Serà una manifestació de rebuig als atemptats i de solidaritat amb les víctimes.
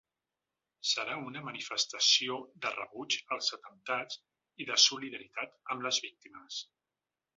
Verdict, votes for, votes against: accepted, 2, 1